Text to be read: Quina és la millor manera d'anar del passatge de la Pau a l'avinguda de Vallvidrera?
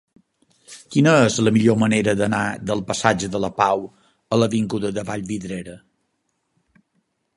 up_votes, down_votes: 4, 0